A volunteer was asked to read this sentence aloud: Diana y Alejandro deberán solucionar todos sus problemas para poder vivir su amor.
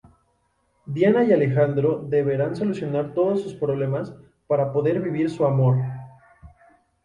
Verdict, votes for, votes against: accepted, 4, 0